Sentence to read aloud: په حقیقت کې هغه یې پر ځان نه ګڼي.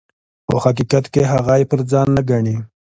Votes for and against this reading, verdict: 2, 0, accepted